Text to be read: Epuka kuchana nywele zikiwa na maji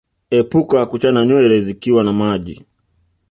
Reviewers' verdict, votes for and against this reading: accepted, 2, 0